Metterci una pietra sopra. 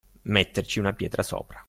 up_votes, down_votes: 2, 0